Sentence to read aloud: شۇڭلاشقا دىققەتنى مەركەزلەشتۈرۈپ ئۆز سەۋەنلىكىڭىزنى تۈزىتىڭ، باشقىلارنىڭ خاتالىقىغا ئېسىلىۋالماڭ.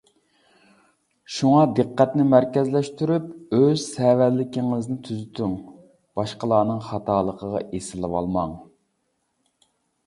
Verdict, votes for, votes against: rejected, 0, 2